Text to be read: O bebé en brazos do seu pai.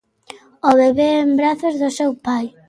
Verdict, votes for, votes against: accepted, 2, 0